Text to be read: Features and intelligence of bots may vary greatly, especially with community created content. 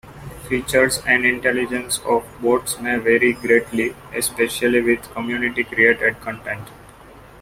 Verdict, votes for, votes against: rejected, 0, 2